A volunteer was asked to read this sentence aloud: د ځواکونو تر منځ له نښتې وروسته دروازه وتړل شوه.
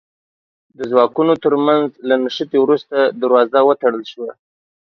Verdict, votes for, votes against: accepted, 2, 0